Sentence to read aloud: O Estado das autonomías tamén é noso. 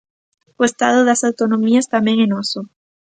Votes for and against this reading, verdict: 2, 0, accepted